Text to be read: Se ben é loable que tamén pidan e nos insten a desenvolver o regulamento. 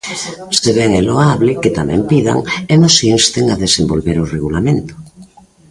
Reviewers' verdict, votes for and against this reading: rejected, 0, 2